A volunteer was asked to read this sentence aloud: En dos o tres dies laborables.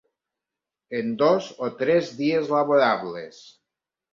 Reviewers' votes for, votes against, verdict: 0, 2, rejected